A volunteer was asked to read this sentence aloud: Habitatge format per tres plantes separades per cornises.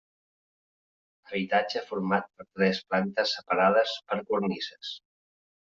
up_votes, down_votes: 0, 2